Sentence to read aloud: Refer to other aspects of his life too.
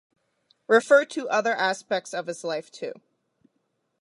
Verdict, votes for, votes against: accepted, 2, 0